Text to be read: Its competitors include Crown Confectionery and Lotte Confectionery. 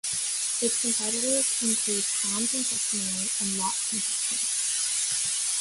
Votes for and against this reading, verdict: 1, 2, rejected